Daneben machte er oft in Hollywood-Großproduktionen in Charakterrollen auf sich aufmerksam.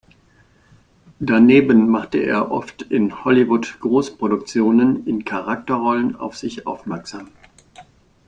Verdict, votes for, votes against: accepted, 2, 0